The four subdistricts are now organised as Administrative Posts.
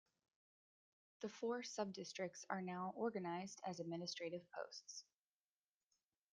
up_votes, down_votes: 0, 2